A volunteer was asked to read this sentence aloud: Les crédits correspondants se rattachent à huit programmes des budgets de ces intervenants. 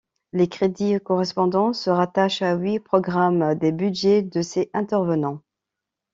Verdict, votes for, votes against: accepted, 2, 1